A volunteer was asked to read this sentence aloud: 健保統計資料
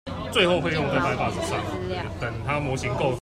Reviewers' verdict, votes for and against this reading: rejected, 1, 2